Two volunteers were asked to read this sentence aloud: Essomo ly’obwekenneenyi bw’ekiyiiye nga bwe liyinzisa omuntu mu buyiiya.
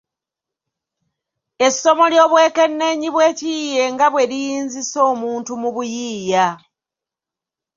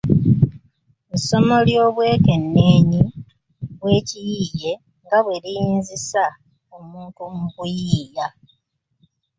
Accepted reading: first